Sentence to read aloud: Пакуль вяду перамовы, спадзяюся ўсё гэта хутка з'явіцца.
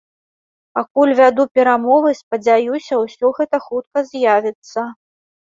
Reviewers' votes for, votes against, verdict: 2, 0, accepted